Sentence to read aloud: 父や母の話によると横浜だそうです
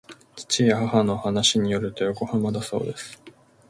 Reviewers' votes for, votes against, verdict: 1, 2, rejected